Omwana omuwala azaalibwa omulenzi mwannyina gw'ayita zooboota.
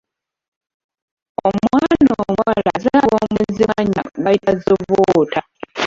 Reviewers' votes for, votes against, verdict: 0, 2, rejected